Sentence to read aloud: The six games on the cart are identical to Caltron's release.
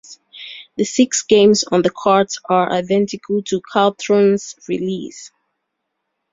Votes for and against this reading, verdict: 2, 0, accepted